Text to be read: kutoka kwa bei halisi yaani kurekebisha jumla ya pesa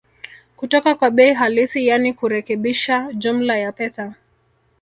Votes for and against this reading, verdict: 1, 2, rejected